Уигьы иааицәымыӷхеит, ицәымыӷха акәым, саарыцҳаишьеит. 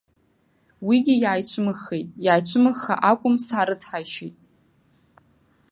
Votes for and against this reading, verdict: 0, 2, rejected